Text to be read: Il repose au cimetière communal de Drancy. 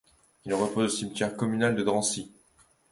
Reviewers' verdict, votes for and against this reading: accepted, 2, 0